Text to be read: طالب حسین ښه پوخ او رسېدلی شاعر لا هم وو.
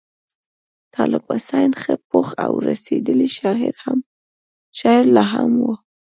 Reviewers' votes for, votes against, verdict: 1, 2, rejected